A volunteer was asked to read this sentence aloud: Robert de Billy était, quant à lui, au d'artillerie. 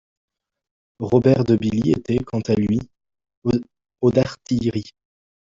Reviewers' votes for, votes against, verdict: 0, 2, rejected